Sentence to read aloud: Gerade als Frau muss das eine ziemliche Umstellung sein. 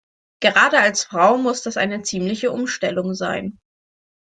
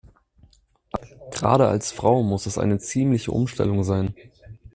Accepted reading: first